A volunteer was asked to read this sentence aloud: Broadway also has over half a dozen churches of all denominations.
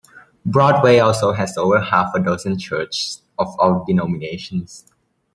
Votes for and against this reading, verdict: 1, 2, rejected